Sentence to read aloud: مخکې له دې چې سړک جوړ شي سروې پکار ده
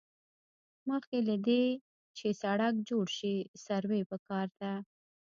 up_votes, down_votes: 0, 2